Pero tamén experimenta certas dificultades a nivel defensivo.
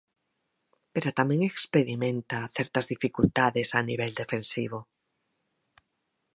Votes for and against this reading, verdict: 4, 0, accepted